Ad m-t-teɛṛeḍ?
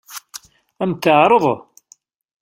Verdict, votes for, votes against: rejected, 1, 2